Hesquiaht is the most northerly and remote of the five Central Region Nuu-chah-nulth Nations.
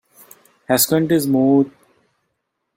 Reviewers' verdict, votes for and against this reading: rejected, 0, 2